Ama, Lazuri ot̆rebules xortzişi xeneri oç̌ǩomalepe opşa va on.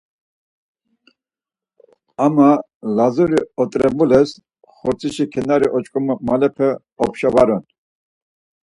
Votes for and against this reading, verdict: 2, 4, rejected